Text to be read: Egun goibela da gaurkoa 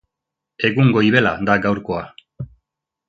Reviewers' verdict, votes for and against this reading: accepted, 3, 0